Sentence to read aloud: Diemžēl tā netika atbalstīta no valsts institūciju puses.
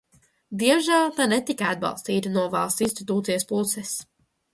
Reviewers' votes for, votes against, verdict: 0, 2, rejected